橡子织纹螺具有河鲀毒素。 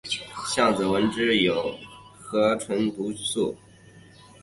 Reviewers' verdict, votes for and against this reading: accepted, 2, 0